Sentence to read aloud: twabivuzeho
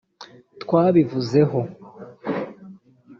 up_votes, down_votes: 1, 2